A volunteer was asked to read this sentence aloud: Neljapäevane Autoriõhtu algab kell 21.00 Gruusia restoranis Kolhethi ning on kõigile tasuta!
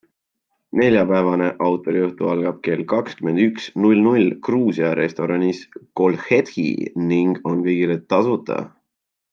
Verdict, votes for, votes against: rejected, 0, 2